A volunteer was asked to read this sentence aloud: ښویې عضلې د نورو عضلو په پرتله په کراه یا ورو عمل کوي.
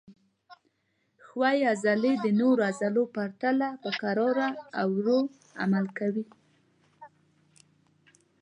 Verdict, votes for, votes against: rejected, 1, 2